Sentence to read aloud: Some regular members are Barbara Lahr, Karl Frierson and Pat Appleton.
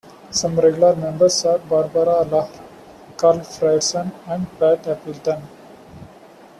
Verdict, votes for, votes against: accepted, 2, 1